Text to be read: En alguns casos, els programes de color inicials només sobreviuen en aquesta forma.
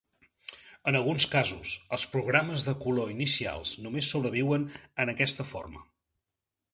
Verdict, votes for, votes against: accepted, 4, 0